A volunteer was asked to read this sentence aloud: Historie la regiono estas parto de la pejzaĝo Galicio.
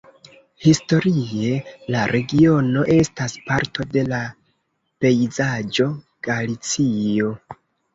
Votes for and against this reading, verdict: 2, 0, accepted